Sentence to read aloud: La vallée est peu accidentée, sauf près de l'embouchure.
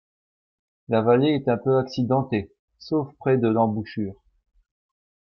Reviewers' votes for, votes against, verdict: 0, 2, rejected